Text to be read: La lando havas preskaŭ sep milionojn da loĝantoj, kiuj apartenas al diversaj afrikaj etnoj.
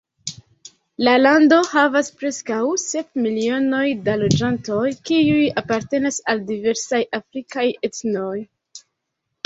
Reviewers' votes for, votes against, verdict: 1, 2, rejected